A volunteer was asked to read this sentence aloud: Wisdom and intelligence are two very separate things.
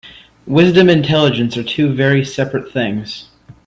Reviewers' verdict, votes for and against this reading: rejected, 0, 2